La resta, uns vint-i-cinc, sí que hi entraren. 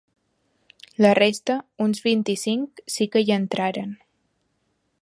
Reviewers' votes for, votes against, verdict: 2, 0, accepted